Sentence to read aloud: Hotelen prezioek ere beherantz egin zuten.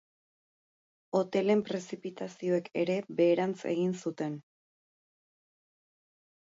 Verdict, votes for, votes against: rejected, 2, 2